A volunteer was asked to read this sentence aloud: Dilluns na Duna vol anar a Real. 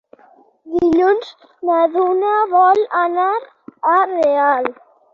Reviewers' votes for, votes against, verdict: 12, 0, accepted